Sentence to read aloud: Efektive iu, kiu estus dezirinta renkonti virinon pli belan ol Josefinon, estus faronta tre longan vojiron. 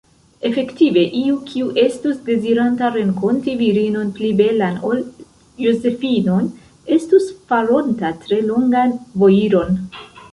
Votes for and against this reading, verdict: 0, 2, rejected